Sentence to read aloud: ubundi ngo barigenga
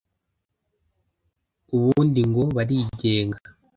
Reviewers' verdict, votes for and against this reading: accepted, 2, 0